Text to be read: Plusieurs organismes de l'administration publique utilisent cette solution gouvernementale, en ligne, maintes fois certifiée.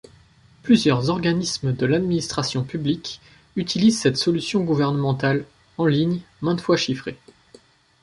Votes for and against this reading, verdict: 0, 2, rejected